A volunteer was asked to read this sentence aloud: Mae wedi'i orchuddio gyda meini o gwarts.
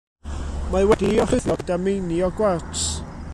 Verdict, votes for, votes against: rejected, 1, 2